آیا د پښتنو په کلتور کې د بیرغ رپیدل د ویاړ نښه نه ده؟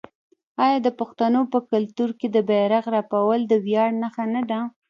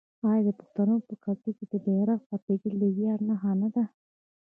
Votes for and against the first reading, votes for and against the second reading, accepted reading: 1, 2, 3, 2, second